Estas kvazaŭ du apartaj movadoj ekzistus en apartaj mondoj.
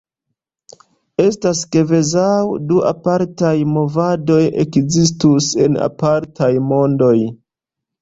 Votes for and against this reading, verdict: 2, 0, accepted